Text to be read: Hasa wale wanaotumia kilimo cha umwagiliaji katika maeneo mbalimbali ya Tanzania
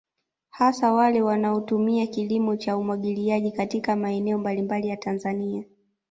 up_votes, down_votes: 2, 0